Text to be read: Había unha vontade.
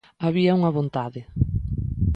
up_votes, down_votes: 2, 0